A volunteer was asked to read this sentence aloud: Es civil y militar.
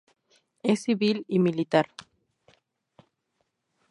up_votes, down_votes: 2, 0